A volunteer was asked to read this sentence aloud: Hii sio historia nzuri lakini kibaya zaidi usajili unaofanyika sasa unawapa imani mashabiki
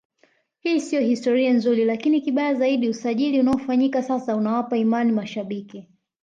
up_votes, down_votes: 2, 1